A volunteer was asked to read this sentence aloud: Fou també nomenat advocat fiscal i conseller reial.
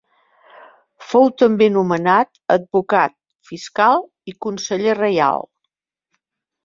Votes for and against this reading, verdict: 2, 0, accepted